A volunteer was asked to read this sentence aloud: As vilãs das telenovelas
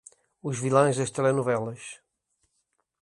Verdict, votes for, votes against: rejected, 1, 2